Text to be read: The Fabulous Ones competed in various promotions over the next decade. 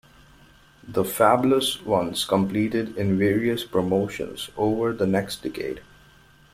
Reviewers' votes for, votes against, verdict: 0, 2, rejected